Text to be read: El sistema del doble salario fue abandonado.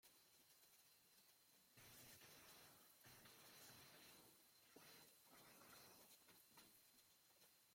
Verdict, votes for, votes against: rejected, 0, 3